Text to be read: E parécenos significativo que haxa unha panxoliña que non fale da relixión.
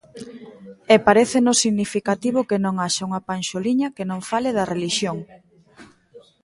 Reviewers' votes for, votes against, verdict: 0, 2, rejected